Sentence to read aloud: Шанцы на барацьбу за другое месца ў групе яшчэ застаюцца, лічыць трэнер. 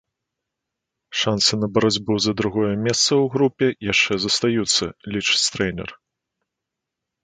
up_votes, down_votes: 2, 0